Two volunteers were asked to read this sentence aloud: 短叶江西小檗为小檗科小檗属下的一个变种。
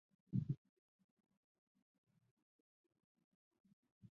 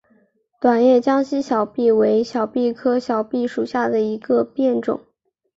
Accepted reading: second